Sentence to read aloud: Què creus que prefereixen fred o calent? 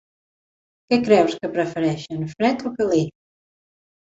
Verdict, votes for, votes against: rejected, 1, 2